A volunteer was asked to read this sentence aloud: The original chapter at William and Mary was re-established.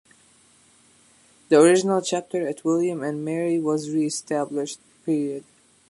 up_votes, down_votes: 2, 1